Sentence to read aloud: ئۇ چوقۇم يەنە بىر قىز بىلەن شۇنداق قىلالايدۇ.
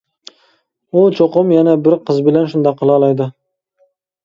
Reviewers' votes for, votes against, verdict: 2, 0, accepted